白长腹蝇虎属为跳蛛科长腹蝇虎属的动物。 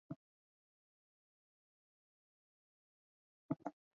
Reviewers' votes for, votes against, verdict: 0, 4, rejected